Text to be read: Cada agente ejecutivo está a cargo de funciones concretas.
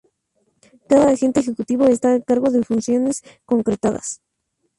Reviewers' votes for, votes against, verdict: 0, 2, rejected